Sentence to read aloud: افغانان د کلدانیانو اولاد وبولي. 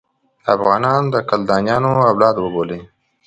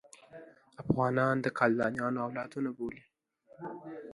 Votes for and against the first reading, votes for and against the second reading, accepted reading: 2, 0, 1, 2, first